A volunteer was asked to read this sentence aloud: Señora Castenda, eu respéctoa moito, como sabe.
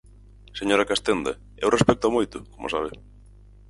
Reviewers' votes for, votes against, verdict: 4, 0, accepted